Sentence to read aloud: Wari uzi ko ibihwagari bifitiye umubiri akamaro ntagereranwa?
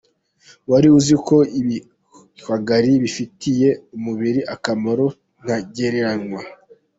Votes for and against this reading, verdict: 1, 2, rejected